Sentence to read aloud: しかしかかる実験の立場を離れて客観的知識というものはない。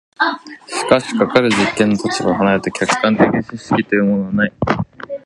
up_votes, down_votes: 0, 2